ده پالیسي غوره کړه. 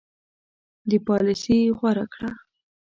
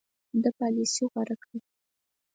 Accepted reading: second